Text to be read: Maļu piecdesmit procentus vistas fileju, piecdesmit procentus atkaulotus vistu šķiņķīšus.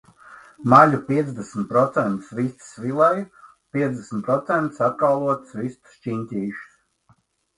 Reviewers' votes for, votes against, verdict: 1, 2, rejected